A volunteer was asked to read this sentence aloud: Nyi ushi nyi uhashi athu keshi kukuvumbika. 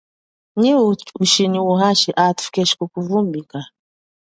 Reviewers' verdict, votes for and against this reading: rejected, 0, 2